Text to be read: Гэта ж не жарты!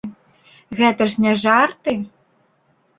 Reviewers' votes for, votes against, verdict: 2, 0, accepted